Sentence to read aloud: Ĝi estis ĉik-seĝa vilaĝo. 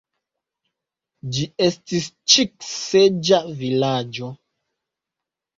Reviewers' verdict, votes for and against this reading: accepted, 2, 1